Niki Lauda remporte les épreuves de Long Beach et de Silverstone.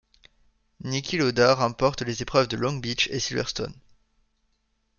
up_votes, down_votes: 0, 2